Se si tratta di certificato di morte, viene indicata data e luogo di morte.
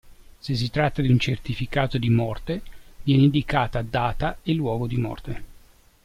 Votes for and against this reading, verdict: 0, 2, rejected